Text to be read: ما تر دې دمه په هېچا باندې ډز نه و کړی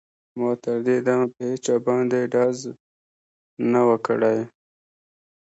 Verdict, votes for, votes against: accepted, 2, 0